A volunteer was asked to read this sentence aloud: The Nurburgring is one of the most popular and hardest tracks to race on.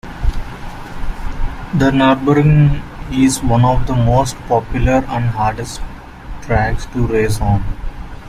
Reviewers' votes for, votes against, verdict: 0, 2, rejected